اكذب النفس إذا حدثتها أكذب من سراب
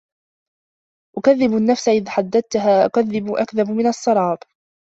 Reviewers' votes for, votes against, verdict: 0, 2, rejected